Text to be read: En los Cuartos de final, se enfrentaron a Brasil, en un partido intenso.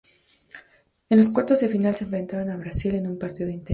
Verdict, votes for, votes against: rejected, 0, 2